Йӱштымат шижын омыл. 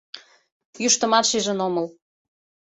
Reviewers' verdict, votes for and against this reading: accepted, 2, 1